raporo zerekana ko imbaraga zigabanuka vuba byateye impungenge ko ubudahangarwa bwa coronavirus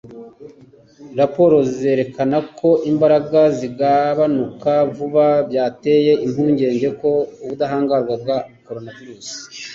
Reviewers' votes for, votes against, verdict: 2, 0, accepted